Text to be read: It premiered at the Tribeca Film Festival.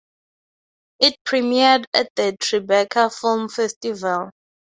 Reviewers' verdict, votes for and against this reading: accepted, 2, 0